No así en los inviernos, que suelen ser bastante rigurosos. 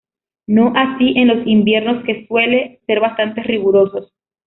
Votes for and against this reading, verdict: 0, 2, rejected